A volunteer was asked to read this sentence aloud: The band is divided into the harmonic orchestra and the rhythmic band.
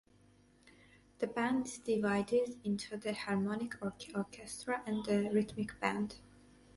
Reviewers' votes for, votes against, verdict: 0, 4, rejected